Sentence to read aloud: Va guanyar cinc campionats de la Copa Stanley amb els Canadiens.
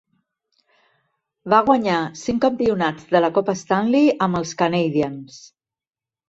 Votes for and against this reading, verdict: 2, 0, accepted